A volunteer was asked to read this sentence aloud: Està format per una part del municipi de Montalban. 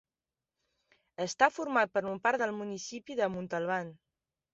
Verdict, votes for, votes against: rejected, 1, 2